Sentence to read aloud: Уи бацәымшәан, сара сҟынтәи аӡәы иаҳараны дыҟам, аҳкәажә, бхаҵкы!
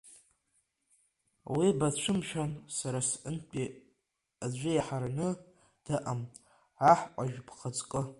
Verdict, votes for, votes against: rejected, 1, 2